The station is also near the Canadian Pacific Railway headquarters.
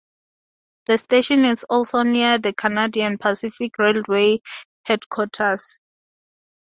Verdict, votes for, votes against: accepted, 2, 0